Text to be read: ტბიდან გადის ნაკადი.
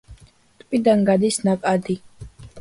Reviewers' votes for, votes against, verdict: 1, 2, rejected